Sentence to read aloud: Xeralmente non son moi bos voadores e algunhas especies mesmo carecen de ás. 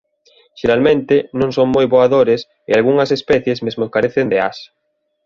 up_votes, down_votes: 0, 2